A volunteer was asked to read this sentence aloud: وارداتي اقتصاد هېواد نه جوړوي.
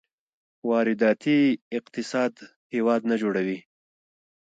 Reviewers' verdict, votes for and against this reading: rejected, 1, 2